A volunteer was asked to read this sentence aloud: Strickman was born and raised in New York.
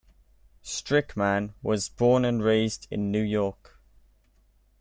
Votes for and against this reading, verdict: 2, 0, accepted